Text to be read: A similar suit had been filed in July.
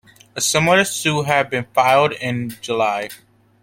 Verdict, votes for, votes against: accepted, 2, 0